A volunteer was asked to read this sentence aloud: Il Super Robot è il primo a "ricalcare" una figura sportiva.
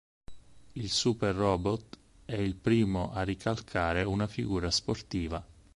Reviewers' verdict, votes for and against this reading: accepted, 6, 0